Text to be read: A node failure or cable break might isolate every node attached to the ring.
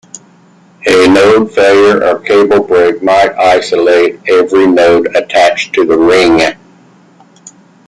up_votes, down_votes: 2, 0